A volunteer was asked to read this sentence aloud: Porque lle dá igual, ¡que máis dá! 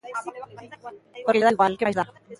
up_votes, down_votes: 0, 2